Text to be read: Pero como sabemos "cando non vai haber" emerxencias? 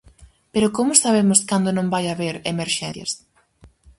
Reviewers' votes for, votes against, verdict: 2, 2, rejected